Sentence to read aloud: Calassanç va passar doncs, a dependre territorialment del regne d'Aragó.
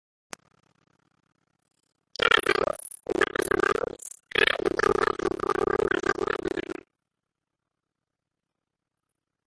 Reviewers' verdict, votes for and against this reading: rejected, 0, 2